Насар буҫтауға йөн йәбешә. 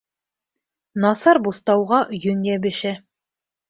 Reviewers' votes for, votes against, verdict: 2, 0, accepted